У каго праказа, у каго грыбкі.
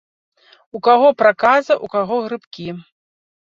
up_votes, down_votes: 2, 0